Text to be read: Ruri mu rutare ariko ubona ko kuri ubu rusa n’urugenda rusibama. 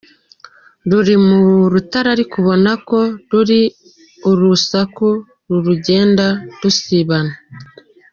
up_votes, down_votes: 1, 2